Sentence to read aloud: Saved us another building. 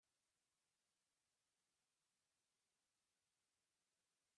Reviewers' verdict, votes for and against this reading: rejected, 0, 2